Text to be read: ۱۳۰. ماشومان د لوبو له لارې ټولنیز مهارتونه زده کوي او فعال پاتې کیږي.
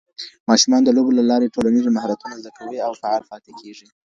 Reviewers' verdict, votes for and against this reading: rejected, 0, 2